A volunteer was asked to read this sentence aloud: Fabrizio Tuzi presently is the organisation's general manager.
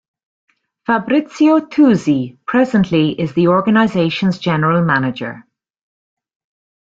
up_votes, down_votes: 3, 0